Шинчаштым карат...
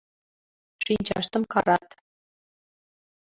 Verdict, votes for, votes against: accepted, 2, 1